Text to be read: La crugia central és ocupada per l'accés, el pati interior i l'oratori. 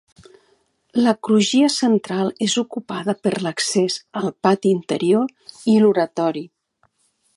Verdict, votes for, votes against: accepted, 2, 0